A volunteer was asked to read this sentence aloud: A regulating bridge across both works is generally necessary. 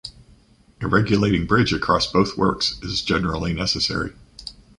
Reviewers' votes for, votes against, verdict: 2, 0, accepted